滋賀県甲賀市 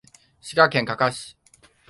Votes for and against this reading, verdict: 2, 1, accepted